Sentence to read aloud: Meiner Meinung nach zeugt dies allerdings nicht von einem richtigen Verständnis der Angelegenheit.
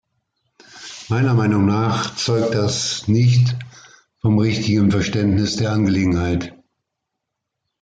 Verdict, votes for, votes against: rejected, 1, 2